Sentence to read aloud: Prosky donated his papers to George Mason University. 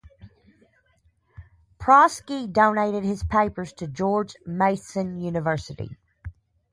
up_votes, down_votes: 0, 2